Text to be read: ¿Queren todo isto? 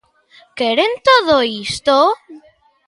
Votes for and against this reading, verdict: 2, 1, accepted